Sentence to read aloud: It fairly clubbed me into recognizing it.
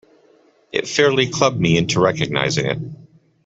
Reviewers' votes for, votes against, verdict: 2, 0, accepted